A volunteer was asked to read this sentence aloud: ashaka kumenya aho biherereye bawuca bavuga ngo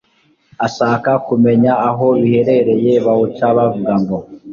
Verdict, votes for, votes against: accepted, 2, 0